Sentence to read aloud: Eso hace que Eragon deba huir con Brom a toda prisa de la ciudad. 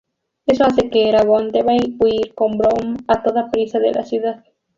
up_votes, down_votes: 0, 2